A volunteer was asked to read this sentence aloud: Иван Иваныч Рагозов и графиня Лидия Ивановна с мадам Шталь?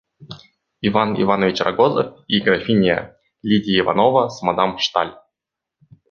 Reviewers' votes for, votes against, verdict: 1, 2, rejected